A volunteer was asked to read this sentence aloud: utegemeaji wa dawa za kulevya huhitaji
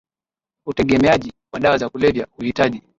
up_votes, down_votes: 2, 0